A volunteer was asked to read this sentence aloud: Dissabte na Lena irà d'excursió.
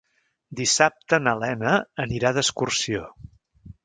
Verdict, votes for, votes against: rejected, 0, 2